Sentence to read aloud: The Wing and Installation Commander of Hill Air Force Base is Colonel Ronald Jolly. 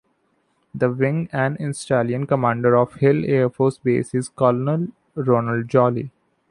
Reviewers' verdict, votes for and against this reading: accepted, 2, 0